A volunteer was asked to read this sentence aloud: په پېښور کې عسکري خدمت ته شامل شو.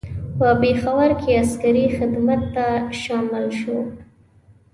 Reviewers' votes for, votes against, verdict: 2, 0, accepted